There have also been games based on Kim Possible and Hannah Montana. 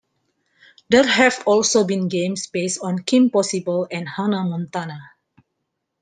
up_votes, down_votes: 2, 0